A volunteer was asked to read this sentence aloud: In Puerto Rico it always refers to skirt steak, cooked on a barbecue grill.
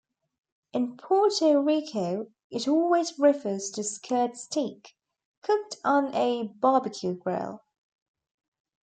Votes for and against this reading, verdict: 0, 2, rejected